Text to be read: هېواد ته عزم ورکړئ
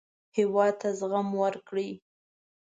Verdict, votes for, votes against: rejected, 0, 2